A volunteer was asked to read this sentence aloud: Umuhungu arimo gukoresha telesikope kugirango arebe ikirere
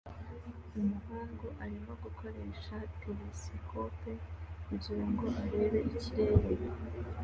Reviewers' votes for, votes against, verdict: 2, 0, accepted